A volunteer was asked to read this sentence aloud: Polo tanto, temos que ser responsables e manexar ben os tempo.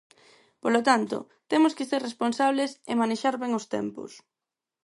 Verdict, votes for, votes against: rejected, 0, 2